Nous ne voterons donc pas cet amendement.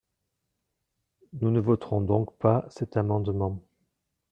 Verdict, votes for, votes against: accepted, 2, 0